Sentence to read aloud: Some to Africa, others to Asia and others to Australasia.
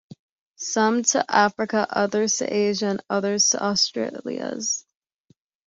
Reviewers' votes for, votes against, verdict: 0, 2, rejected